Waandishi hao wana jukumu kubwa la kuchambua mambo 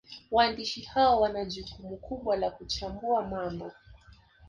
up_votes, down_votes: 2, 0